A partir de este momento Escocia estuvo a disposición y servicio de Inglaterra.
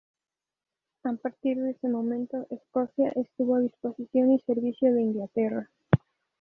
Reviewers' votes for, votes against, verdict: 0, 2, rejected